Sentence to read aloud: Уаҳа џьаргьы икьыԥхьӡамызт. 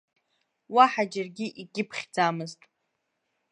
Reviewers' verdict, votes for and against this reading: accepted, 2, 0